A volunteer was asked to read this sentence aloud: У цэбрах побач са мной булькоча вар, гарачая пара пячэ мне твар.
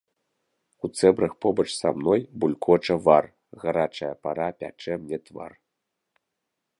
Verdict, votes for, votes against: rejected, 0, 2